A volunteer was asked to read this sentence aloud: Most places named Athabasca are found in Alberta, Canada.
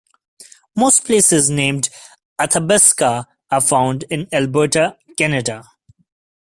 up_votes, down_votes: 2, 0